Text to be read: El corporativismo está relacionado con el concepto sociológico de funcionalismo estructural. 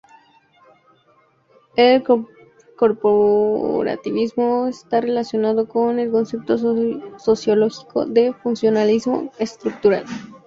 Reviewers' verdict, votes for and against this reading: rejected, 0, 2